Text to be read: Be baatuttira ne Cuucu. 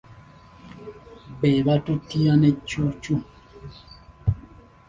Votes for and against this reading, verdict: 2, 1, accepted